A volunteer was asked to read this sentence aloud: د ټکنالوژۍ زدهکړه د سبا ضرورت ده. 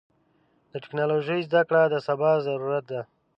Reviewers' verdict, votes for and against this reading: accepted, 2, 0